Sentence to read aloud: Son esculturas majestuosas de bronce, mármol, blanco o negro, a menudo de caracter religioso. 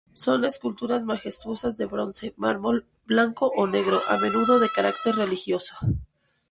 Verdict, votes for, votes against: rejected, 2, 2